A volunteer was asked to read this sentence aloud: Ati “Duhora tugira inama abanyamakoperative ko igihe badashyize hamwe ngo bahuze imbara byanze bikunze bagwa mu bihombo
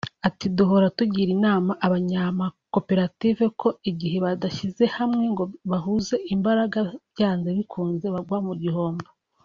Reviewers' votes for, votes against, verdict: 2, 0, accepted